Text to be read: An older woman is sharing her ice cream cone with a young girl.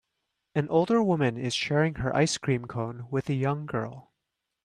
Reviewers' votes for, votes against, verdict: 2, 0, accepted